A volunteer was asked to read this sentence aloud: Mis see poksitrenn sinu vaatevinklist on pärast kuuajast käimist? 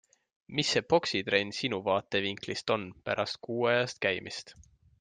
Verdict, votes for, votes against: accepted, 2, 0